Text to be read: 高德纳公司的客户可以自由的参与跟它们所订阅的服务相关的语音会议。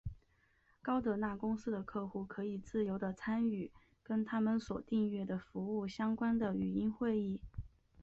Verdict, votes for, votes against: accepted, 2, 0